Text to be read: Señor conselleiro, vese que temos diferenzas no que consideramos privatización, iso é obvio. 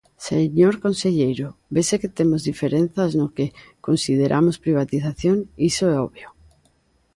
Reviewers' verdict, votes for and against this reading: accepted, 2, 0